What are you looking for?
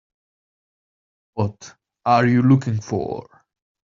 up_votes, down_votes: 1, 2